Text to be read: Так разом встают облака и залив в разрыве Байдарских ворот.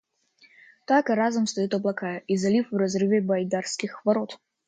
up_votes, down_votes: 2, 0